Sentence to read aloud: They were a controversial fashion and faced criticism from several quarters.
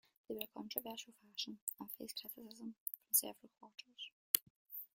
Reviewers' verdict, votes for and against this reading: rejected, 1, 2